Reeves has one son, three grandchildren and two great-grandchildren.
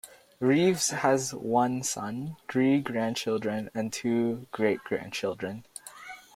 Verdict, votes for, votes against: accepted, 2, 0